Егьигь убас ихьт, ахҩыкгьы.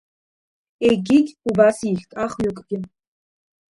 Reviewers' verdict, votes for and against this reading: rejected, 1, 2